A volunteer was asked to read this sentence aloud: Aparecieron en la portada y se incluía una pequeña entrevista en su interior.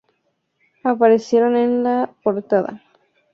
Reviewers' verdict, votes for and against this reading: rejected, 0, 2